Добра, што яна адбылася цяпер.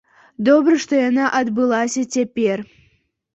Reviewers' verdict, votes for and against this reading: accepted, 2, 0